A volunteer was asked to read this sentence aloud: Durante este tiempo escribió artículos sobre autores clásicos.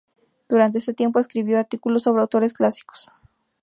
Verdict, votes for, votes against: rejected, 0, 2